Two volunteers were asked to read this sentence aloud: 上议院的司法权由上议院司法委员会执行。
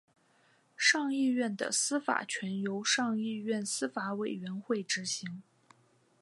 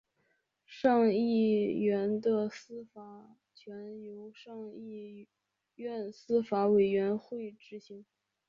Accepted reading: first